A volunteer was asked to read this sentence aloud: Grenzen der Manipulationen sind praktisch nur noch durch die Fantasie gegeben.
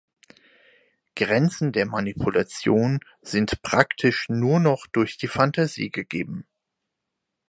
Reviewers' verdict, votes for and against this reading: rejected, 2, 4